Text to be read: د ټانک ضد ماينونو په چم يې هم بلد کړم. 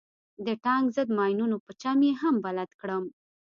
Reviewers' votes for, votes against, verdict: 2, 0, accepted